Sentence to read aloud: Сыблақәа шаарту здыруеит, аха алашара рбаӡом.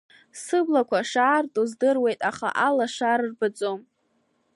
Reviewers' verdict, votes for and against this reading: accepted, 2, 1